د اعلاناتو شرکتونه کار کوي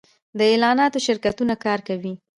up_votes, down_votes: 2, 0